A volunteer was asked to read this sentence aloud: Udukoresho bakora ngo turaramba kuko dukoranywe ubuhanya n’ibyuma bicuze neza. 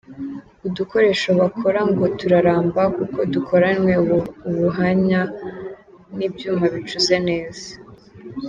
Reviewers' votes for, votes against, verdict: 2, 0, accepted